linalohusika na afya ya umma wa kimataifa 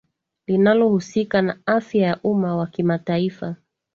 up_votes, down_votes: 2, 1